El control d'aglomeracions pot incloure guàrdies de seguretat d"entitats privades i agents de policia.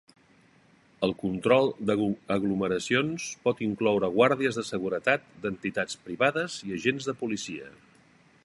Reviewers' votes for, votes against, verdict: 1, 2, rejected